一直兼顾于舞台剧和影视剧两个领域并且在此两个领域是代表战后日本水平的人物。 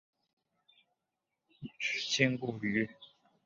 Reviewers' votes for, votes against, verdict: 0, 3, rejected